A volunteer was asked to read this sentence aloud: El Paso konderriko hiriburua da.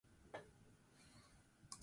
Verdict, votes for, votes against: rejected, 0, 4